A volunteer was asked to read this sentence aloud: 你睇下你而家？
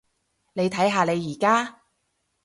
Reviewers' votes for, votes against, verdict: 0, 2, rejected